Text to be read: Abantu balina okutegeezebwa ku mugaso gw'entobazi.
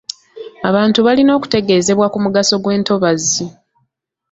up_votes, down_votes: 2, 0